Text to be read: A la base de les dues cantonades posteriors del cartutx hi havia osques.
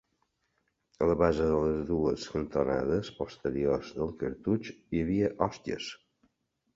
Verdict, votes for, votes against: rejected, 0, 2